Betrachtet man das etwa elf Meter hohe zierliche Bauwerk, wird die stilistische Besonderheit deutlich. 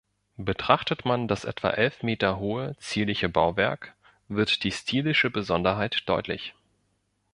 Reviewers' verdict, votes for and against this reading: rejected, 0, 2